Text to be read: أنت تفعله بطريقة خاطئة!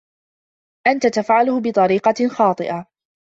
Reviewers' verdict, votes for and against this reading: accepted, 2, 1